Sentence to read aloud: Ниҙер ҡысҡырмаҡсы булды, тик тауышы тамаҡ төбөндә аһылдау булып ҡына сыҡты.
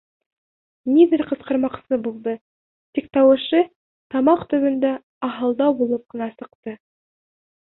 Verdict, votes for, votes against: accepted, 3, 0